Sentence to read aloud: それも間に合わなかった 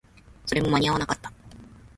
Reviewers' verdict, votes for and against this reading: accepted, 2, 0